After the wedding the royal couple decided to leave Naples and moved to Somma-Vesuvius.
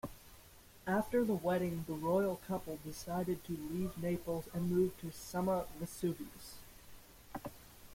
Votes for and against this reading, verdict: 2, 1, accepted